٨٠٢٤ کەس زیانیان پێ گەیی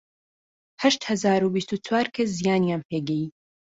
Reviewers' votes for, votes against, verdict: 0, 2, rejected